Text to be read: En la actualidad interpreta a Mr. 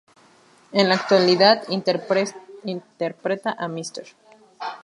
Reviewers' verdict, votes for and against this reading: rejected, 0, 2